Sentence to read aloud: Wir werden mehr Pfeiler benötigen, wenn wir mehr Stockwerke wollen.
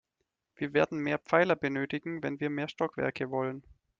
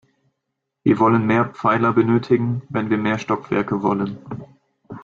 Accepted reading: first